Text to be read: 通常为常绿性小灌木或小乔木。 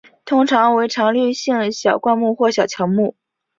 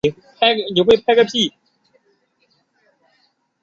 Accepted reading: first